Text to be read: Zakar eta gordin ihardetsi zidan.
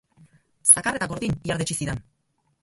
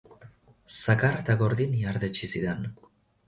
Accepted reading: second